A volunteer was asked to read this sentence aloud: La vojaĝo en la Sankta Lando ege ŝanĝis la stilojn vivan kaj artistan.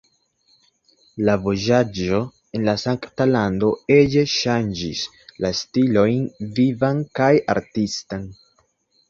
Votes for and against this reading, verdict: 1, 2, rejected